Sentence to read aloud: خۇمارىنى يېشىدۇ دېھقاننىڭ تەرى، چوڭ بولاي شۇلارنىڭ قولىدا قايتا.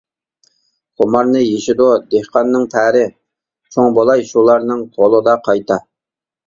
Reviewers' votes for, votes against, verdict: 1, 2, rejected